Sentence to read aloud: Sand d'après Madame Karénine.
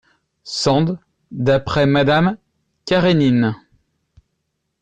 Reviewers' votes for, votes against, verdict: 2, 0, accepted